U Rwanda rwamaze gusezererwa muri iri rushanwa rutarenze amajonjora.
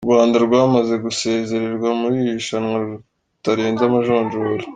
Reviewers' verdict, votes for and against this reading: accepted, 2, 0